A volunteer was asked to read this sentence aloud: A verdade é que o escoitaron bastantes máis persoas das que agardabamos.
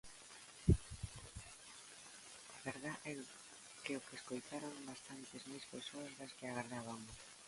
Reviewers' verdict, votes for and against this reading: rejected, 0, 2